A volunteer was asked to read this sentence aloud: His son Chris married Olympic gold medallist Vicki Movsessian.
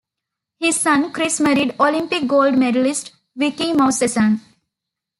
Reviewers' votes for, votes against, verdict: 2, 1, accepted